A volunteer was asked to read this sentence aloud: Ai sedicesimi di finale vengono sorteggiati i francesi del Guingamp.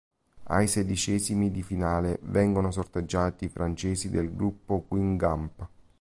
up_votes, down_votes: 0, 2